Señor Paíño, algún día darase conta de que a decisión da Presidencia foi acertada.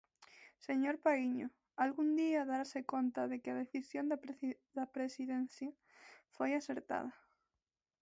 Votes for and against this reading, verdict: 0, 2, rejected